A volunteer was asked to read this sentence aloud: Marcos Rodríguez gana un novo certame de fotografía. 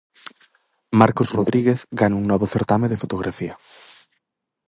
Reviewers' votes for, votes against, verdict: 4, 0, accepted